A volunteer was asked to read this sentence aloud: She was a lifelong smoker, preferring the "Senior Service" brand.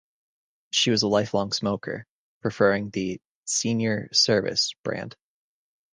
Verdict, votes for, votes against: accepted, 2, 0